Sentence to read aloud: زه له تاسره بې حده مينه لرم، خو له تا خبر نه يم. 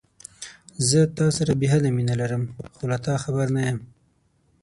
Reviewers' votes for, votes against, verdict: 0, 6, rejected